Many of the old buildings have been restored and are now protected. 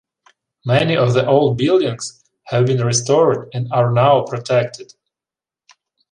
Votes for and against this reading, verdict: 2, 0, accepted